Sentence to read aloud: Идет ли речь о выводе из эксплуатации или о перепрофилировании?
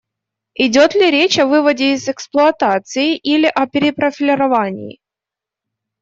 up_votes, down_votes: 1, 2